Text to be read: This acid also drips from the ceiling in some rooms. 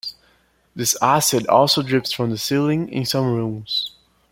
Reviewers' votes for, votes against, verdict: 2, 0, accepted